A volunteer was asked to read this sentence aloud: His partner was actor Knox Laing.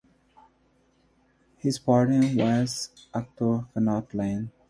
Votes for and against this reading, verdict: 0, 2, rejected